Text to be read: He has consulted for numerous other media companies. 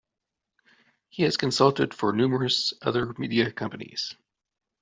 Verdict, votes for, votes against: accepted, 2, 0